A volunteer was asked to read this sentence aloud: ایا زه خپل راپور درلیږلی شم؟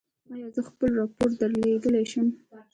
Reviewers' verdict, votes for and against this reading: rejected, 1, 2